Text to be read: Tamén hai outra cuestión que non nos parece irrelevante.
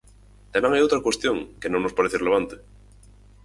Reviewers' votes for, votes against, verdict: 2, 4, rejected